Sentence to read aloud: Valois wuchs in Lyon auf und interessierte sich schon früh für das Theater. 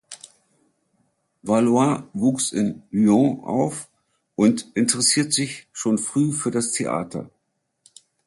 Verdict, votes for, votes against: rejected, 0, 2